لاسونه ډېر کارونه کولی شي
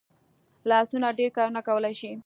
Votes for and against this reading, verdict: 2, 0, accepted